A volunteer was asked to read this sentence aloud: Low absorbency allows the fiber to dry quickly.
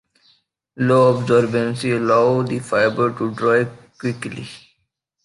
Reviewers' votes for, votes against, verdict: 0, 2, rejected